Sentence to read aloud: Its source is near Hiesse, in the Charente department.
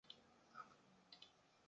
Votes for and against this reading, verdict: 0, 2, rejected